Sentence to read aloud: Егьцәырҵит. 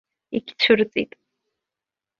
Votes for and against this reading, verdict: 2, 0, accepted